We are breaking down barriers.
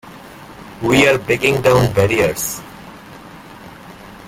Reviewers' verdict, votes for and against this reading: accepted, 2, 1